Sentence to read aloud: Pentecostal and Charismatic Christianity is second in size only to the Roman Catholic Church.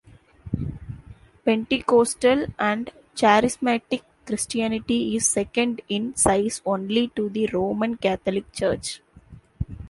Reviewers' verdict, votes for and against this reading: accepted, 2, 0